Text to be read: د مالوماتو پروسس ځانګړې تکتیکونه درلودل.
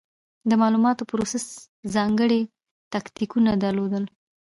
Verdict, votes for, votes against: accepted, 2, 1